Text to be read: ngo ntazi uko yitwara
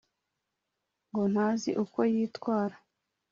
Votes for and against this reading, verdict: 2, 0, accepted